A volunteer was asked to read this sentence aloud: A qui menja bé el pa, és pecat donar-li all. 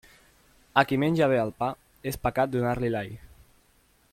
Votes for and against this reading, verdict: 1, 2, rejected